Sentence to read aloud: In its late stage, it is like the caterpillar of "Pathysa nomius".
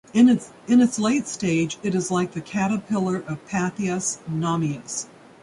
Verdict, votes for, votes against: rejected, 1, 2